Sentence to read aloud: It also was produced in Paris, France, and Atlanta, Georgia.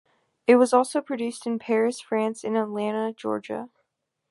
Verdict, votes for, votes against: rejected, 1, 2